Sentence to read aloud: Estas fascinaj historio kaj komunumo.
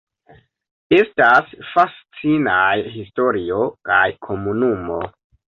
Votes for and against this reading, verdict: 2, 0, accepted